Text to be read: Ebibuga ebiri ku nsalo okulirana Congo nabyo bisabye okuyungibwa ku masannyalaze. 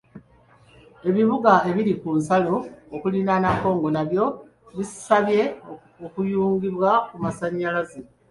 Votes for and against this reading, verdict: 2, 0, accepted